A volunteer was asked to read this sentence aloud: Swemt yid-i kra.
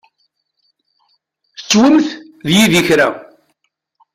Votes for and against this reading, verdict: 1, 2, rejected